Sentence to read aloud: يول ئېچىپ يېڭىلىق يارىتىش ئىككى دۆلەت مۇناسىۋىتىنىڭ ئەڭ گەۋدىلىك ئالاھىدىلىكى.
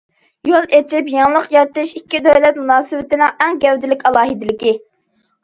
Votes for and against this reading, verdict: 2, 0, accepted